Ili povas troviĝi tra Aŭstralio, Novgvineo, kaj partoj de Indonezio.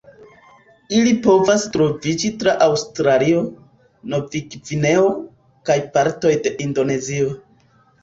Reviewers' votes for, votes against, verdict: 2, 0, accepted